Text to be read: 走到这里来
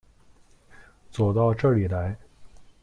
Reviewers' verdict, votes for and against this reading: accepted, 2, 0